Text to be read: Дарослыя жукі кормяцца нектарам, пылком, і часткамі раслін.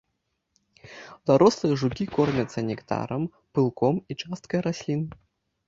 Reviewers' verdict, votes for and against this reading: rejected, 0, 2